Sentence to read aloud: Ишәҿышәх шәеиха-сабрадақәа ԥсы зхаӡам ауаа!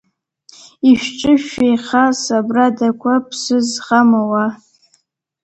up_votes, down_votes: 0, 2